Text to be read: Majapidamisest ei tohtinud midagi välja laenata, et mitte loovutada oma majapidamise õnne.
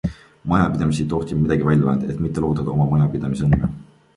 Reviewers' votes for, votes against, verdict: 0, 2, rejected